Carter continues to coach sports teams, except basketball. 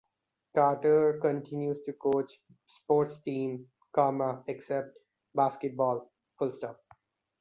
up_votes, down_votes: 1, 2